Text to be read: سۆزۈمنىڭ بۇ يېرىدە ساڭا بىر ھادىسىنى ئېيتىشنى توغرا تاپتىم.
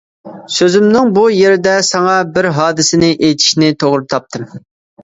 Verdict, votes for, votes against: accepted, 2, 0